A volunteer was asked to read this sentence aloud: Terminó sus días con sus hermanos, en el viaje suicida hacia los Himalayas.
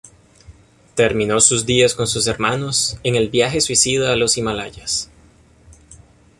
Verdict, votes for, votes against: rejected, 0, 2